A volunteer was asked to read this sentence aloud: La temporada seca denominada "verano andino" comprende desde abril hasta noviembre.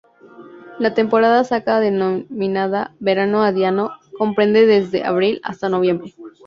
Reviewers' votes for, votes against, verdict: 0, 2, rejected